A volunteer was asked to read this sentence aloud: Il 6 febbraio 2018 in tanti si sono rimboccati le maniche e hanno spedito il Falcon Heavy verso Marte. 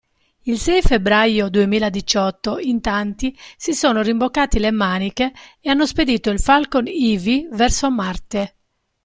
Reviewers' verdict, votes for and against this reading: rejected, 0, 2